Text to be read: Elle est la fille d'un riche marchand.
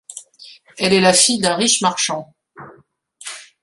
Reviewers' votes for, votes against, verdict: 2, 0, accepted